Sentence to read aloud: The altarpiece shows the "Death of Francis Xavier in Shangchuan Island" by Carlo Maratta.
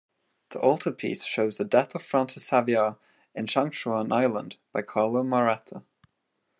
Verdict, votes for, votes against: accepted, 2, 0